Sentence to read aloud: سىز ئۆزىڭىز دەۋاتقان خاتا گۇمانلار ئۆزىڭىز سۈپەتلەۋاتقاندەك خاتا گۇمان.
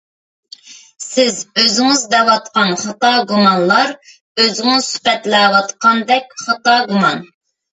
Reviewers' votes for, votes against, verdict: 2, 0, accepted